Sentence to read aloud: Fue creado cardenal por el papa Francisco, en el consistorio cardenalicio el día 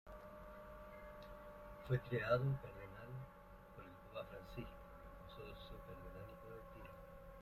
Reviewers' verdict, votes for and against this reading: rejected, 1, 2